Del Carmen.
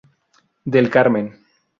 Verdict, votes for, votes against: accepted, 2, 0